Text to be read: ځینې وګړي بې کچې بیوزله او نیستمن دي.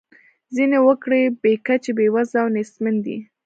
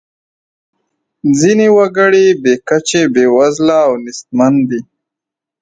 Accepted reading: second